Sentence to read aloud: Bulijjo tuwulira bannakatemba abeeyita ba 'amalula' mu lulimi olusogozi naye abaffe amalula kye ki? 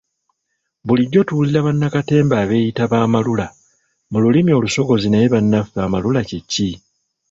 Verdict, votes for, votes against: rejected, 1, 2